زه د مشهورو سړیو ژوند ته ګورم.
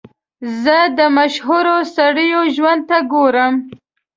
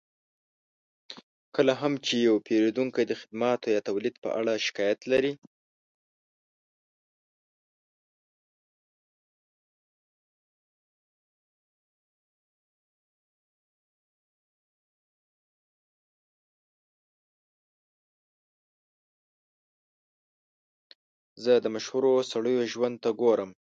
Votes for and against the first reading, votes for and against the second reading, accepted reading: 2, 0, 0, 2, first